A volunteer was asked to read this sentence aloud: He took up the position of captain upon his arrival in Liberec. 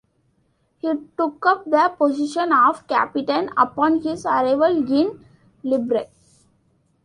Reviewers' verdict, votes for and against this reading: rejected, 1, 2